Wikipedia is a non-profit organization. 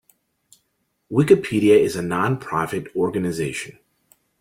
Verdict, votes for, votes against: accepted, 2, 0